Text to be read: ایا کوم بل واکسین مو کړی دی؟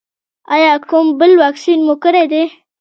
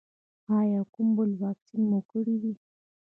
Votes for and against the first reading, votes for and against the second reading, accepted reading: 2, 0, 1, 2, first